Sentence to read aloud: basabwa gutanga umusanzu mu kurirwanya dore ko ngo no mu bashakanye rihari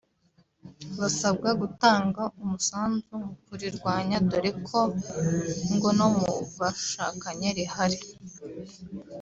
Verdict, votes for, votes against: rejected, 1, 2